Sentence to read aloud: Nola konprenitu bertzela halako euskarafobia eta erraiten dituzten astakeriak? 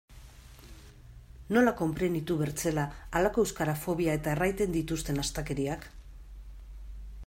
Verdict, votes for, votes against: accepted, 2, 0